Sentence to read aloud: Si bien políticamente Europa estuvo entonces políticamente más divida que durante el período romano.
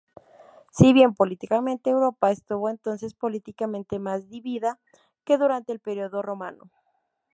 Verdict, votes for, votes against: rejected, 0, 2